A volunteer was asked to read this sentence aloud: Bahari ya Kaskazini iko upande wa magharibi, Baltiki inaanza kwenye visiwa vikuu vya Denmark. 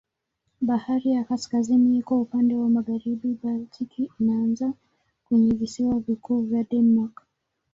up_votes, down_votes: 1, 2